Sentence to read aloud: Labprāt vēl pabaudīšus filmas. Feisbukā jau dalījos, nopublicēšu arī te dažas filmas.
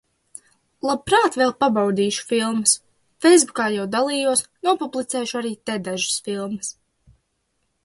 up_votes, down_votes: 2, 0